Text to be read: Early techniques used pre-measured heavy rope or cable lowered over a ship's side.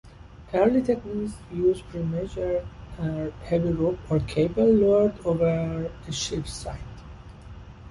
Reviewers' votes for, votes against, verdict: 0, 2, rejected